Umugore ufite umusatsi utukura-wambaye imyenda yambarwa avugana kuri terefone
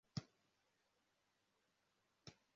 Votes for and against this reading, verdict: 0, 2, rejected